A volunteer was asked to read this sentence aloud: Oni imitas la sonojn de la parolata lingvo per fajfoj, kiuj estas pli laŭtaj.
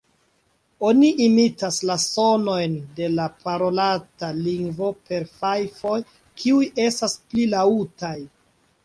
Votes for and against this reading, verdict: 0, 2, rejected